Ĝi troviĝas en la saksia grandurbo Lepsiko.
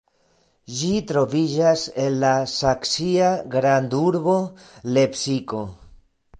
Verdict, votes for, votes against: rejected, 1, 3